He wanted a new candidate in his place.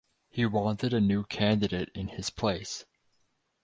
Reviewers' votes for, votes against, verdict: 4, 0, accepted